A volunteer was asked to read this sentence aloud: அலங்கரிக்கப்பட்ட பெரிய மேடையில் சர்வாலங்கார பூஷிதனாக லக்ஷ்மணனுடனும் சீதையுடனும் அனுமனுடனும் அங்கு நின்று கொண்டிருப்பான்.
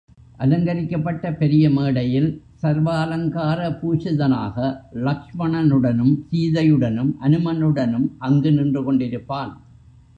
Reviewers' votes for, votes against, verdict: 1, 2, rejected